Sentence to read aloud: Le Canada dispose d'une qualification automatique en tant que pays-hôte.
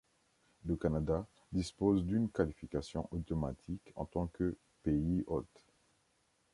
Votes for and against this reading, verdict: 2, 0, accepted